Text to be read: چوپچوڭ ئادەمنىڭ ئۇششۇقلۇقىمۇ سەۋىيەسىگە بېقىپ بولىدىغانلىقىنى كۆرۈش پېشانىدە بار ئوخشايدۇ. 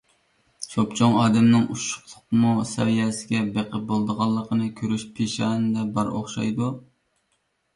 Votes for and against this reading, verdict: 2, 0, accepted